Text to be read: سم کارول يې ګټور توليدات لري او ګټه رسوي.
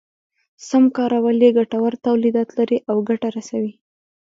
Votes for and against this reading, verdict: 2, 0, accepted